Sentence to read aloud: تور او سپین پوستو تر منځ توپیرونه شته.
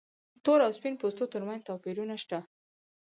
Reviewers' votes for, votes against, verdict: 4, 0, accepted